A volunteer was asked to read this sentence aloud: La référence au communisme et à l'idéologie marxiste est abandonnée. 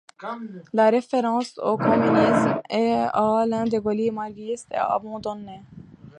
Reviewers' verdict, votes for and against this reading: rejected, 0, 2